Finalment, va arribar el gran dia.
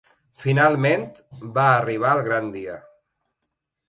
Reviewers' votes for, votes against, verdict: 3, 0, accepted